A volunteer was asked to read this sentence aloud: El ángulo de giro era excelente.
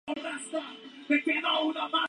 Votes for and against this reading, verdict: 0, 4, rejected